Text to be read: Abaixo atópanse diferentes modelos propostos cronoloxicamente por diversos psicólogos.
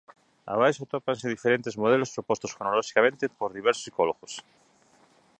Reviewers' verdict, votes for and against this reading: rejected, 1, 2